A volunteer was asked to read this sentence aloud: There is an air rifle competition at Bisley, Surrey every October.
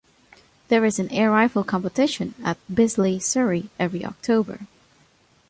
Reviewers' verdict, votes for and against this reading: accepted, 5, 0